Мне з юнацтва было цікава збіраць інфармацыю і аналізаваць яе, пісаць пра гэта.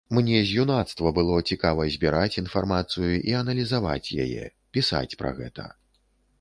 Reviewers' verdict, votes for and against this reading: accepted, 2, 0